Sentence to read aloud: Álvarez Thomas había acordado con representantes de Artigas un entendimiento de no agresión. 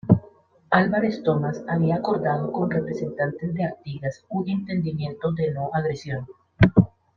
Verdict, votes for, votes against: rejected, 0, 2